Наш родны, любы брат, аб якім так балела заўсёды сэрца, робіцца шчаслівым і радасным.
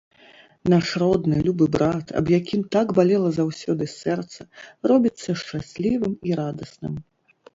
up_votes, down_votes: 2, 0